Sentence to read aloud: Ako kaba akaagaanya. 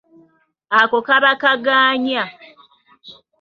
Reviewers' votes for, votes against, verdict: 0, 2, rejected